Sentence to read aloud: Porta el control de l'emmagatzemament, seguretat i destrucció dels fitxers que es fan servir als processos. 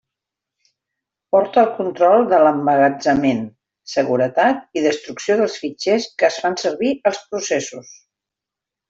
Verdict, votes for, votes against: accepted, 2, 0